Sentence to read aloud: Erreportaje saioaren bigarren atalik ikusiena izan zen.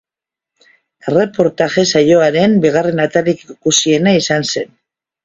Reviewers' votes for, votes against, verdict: 2, 0, accepted